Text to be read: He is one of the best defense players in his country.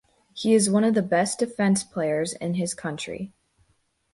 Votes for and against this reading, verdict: 0, 2, rejected